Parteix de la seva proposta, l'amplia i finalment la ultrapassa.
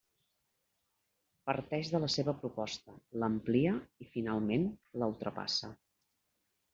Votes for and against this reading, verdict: 2, 0, accepted